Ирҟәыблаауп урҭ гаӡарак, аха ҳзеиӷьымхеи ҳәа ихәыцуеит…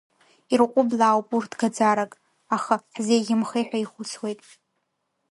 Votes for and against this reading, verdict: 0, 2, rejected